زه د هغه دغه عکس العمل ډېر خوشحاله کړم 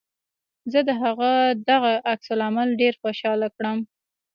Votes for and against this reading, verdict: 0, 2, rejected